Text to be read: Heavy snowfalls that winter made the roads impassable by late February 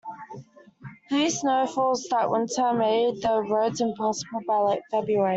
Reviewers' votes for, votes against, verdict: 0, 2, rejected